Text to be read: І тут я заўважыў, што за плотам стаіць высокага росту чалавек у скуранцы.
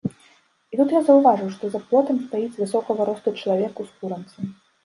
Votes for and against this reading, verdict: 0, 2, rejected